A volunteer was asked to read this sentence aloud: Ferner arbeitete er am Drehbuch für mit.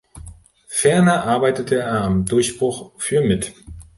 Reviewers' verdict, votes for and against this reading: rejected, 0, 2